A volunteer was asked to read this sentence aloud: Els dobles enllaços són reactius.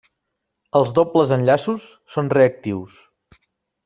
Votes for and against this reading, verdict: 3, 1, accepted